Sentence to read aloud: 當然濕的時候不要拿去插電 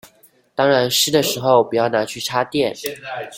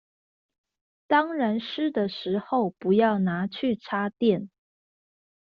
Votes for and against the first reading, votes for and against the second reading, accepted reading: 1, 2, 2, 0, second